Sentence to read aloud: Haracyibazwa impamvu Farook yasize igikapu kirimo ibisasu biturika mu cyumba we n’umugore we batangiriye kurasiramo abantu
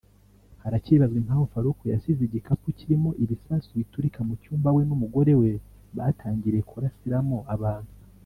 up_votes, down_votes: 2, 0